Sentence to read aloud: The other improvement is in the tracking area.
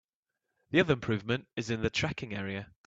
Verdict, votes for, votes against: accepted, 2, 1